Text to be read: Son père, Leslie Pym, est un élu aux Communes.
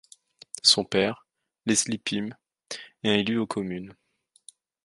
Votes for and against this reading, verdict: 0, 2, rejected